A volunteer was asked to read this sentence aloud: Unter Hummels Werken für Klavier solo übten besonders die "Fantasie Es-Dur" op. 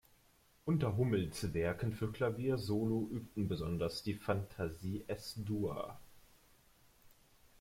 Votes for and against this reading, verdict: 0, 2, rejected